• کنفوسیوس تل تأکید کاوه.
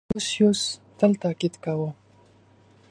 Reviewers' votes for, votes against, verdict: 2, 0, accepted